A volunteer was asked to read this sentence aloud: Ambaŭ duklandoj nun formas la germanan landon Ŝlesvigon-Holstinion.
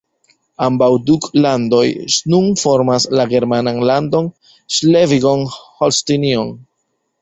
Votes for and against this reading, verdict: 2, 0, accepted